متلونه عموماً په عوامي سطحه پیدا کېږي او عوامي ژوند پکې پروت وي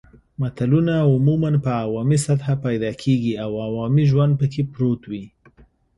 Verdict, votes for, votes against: accepted, 2, 0